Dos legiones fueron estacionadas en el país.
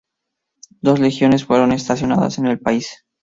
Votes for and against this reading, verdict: 2, 0, accepted